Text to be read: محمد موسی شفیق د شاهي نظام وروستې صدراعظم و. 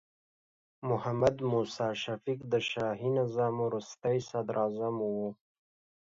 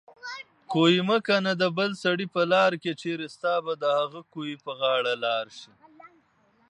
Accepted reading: first